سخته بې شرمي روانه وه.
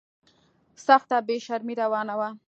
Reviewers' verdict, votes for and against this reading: accepted, 3, 0